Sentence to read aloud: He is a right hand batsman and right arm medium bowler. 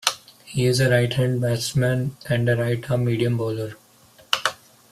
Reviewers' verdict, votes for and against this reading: rejected, 0, 2